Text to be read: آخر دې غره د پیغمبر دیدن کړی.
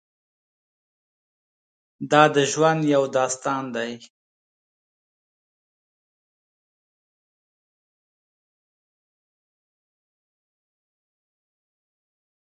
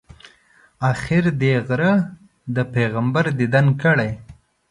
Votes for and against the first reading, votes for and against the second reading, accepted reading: 0, 2, 2, 0, second